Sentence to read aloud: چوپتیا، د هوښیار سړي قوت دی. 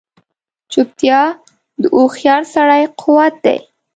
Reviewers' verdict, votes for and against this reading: accepted, 2, 0